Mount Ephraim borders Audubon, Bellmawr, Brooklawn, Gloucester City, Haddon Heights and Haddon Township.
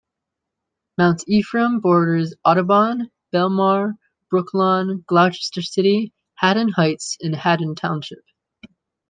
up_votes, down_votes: 1, 2